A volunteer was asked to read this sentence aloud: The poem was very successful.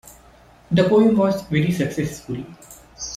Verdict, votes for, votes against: accepted, 2, 0